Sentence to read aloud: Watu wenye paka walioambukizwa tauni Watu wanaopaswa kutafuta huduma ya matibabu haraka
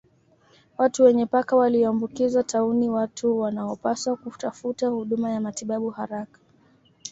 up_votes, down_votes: 2, 0